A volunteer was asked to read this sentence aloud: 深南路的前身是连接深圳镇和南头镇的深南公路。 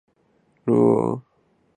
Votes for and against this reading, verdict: 0, 2, rejected